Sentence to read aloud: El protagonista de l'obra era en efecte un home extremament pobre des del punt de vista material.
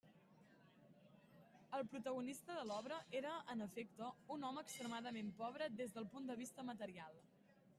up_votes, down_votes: 0, 2